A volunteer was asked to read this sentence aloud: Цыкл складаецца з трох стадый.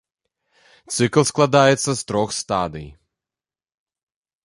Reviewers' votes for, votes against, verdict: 2, 0, accepted